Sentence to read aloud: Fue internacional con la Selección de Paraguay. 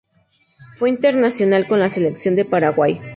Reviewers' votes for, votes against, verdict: 2, 0, accepted